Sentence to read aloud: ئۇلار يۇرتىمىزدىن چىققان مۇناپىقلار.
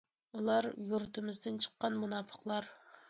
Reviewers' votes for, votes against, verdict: 2, 0, accepted